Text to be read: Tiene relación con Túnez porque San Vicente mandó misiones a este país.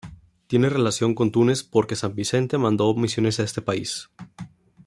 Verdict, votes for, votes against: accepted, 2, 0